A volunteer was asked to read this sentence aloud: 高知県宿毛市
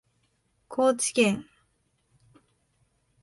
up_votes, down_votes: 0, 3